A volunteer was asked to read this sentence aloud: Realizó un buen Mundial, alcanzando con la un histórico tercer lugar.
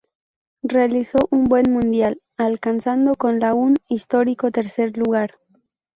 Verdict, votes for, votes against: accepted, 2, 0